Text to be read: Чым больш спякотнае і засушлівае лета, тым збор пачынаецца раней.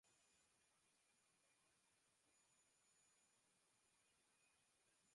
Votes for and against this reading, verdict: 0, 2, rejected